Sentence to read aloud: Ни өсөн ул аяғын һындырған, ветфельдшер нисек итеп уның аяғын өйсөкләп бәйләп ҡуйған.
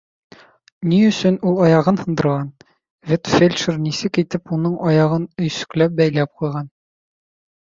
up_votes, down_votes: 2, 0